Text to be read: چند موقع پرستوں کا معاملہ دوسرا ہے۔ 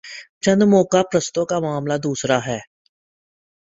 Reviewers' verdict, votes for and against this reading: accepted, 4, 1